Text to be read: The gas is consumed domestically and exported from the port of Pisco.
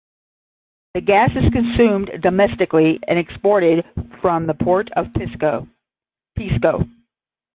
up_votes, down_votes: 0, 10